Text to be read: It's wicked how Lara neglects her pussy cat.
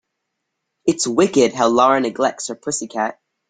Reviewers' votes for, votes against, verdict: 4, 0, accepted